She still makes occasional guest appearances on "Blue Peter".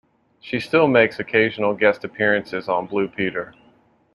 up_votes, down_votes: 2, 0